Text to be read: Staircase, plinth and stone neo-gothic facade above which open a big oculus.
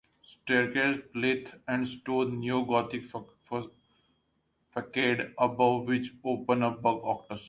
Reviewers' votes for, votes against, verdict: 0, 2, rejected